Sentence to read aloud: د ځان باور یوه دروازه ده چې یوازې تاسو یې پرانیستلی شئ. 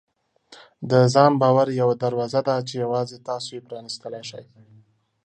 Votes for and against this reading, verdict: 2, 0, accepted